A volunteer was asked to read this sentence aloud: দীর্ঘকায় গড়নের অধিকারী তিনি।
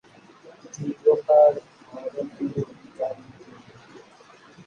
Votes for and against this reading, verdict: 0, 2, rejected